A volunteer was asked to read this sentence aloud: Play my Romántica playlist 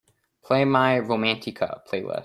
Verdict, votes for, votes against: rejected, 0, 2